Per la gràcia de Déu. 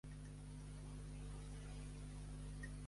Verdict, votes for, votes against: rejected, 1, 2